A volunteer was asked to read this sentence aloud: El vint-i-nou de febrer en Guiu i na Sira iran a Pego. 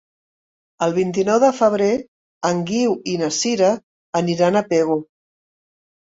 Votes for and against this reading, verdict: 0, 2, rejected